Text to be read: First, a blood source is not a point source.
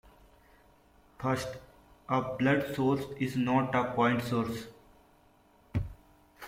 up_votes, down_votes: 2, 0